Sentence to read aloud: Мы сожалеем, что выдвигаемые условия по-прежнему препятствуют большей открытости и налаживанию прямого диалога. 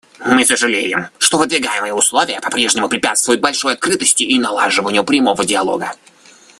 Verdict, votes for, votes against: rejected, 1, 2